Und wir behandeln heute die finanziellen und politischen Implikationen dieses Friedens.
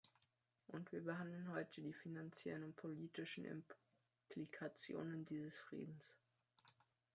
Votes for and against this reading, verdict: 2, 1, accepted